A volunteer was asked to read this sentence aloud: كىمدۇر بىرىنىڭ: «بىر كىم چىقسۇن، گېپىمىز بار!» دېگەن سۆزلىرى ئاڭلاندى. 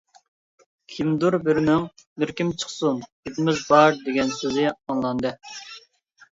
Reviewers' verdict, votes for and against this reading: rejected, 1, 2